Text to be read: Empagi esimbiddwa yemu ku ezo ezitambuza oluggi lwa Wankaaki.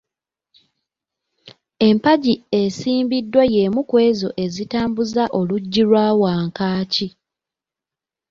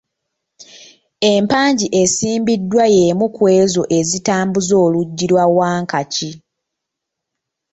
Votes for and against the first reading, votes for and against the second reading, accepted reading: 2, 1, 0, 2, first